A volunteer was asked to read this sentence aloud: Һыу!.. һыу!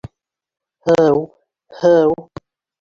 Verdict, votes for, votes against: accepted, 2, 1